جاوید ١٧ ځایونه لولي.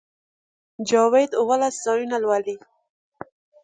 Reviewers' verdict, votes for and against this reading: rejected, 0, 2